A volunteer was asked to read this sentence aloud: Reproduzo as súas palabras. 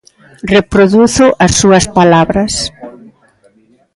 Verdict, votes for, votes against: rejected, 1, 2